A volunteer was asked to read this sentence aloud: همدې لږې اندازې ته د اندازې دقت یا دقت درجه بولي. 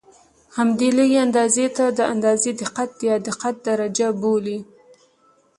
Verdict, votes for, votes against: accepted, 2, 0